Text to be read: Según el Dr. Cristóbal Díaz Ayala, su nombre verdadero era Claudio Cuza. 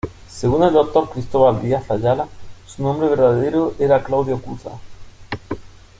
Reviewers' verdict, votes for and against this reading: accepted, 2, 0